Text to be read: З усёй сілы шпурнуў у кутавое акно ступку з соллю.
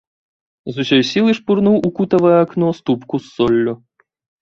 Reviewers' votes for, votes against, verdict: 1, 2, rejected